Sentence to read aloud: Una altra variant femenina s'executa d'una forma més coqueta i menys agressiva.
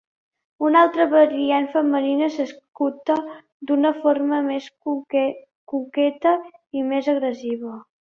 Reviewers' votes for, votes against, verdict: 0, 2, rejected